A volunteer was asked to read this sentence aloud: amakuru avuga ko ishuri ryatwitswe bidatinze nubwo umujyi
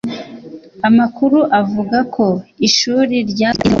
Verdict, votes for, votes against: rejected, 1, 2